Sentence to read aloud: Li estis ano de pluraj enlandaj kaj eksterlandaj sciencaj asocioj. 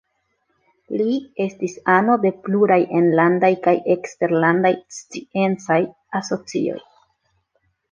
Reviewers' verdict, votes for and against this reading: accepted, 2, 0